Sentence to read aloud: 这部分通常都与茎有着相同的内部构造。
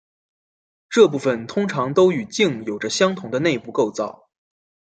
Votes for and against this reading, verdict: 2, 0, accepted